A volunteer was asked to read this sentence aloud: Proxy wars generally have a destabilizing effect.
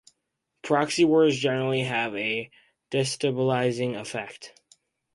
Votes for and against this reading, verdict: 2, 0, accepted